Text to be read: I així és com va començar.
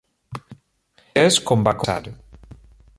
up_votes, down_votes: 0, 2